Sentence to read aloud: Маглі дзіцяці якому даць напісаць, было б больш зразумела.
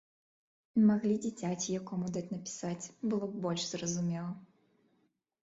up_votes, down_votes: 2, 0